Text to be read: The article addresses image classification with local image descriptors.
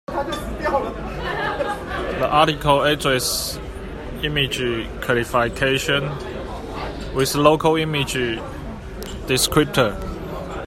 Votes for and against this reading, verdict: 0, 2, rejected